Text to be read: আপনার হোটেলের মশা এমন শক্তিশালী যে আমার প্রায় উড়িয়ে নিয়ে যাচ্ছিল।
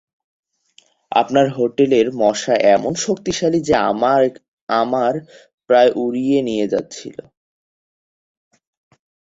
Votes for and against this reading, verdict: 0, 2, rejected